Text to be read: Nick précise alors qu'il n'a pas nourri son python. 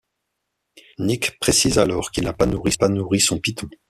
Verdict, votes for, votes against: rejected, 0, 2